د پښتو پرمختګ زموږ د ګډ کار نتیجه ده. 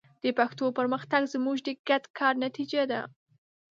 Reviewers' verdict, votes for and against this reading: accepted, 4, 0